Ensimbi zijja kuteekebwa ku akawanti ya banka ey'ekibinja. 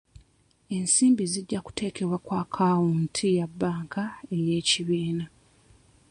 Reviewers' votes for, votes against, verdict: 1, 2, rejected